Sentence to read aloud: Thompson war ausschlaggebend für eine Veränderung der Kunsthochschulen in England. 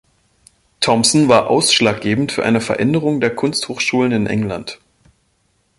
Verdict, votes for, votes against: accepted, 2, 0